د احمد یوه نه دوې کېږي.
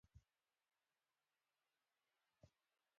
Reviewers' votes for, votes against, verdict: 0, 3, rejected